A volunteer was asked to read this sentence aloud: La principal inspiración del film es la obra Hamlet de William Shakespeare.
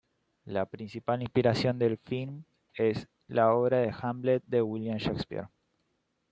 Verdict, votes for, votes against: accepted, 3, 0